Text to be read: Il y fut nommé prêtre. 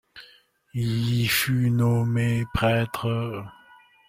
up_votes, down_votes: 0, 2